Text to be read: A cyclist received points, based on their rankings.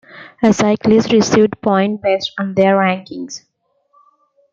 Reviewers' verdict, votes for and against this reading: accepted, 2, 1